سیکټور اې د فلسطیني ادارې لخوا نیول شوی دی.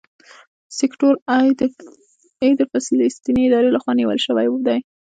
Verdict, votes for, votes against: rejected, 1, 2